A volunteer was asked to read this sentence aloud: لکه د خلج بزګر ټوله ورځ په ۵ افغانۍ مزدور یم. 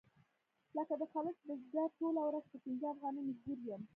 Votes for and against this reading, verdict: 0, 2, rejected